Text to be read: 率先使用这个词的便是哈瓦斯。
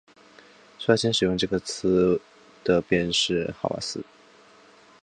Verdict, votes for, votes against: accepted, 6, 0